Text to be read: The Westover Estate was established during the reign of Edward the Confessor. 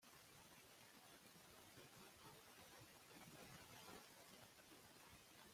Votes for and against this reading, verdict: 0, 2, rejected